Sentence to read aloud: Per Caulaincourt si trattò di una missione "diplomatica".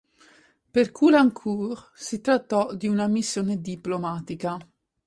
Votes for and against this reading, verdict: 4, 0, accepted